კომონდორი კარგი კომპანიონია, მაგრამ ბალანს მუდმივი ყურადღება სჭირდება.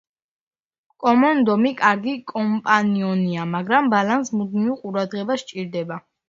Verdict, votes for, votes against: rejected, 0, 2